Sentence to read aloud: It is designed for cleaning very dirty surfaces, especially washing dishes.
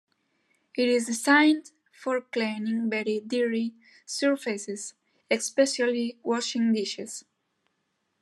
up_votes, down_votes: 2, 1